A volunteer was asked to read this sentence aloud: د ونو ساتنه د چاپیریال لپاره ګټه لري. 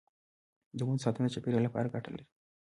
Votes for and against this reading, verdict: 1, 2, rejected